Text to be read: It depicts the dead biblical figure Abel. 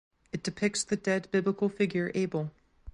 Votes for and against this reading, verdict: 2, 0, accepted